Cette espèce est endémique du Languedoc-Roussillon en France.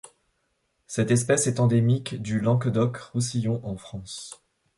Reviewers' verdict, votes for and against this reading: accepted, 3, 1